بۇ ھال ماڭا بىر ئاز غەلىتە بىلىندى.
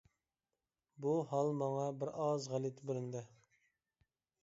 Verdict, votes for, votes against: accepted, 2, 0